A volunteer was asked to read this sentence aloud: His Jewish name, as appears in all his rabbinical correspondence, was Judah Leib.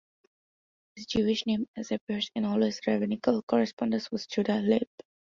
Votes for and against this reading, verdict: 0, 2, rejected